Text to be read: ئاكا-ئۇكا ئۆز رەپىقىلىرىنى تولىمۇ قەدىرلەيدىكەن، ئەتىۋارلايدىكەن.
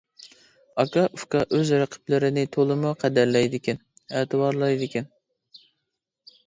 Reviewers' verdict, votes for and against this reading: rejected, 0, 2